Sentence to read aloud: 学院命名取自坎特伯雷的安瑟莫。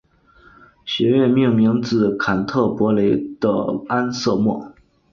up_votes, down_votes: 1, 2